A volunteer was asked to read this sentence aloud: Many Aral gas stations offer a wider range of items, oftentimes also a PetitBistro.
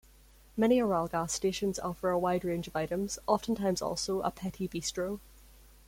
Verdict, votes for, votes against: rejected, 1, 2